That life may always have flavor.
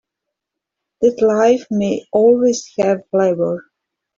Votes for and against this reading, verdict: 0, 2, rejected